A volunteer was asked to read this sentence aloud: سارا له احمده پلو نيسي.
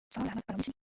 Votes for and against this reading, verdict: 0, 2, rejected